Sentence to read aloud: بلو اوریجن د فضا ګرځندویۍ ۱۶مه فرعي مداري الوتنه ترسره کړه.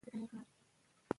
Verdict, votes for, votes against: rejected, 0, 2